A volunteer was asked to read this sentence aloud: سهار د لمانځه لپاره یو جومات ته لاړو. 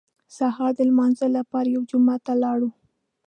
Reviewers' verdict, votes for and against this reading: accepted, 2, 0